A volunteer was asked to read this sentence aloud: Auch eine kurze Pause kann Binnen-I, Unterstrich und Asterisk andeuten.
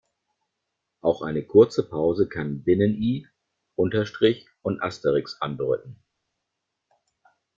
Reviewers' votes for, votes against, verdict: 0, 2, rejected